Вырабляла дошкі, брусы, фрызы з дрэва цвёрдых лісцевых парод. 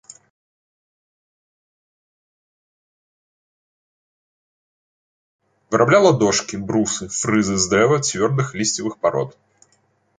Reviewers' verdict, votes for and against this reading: rejected, 1, 2